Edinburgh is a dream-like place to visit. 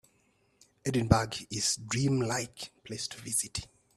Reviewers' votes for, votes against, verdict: 2, 4, rejected